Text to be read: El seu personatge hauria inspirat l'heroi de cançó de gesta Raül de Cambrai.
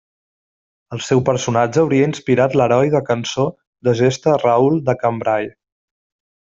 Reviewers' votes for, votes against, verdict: 2, 0, accepted